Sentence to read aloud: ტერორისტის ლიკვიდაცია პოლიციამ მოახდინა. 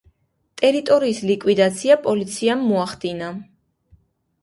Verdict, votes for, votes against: accepted, 2, 0